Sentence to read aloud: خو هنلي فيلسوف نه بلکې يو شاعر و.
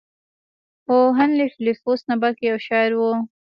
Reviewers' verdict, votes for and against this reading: accepted, 3, 0